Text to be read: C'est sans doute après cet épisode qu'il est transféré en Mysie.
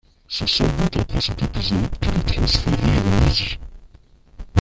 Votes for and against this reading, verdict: 0, 2, rejected